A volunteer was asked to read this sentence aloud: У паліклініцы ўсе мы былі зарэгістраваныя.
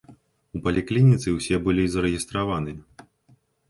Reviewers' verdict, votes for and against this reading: rejected, 0, 2